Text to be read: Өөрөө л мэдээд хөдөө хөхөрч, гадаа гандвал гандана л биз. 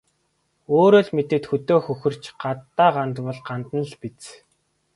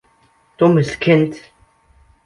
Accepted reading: first